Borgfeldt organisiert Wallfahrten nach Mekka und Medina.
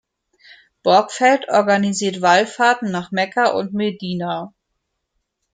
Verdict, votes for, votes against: accepted, 2, 0